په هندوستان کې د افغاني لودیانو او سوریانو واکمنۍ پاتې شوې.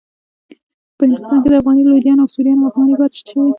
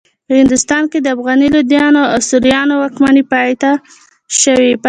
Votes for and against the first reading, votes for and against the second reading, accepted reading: 1, 2, 2, 0, second